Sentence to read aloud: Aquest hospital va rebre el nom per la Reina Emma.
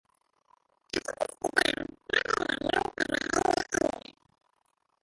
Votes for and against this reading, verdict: 1, 2, rejected